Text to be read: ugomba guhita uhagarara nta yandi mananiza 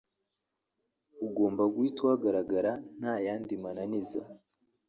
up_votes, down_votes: 1, 2